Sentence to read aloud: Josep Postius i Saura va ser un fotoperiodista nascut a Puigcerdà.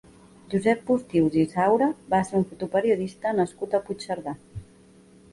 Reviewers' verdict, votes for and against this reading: accepted, 2, 0